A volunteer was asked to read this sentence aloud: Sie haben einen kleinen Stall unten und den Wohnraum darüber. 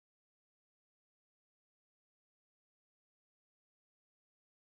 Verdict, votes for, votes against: rejected, 0, 4